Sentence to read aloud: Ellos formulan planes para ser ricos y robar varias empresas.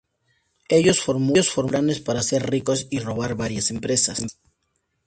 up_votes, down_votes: 0, 4